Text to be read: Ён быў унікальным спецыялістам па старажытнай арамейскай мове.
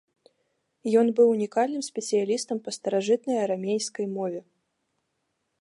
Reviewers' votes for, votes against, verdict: 2, 0, accepted